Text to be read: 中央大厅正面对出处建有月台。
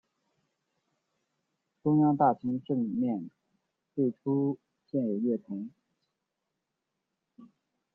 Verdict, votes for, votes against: rejected, 0, 2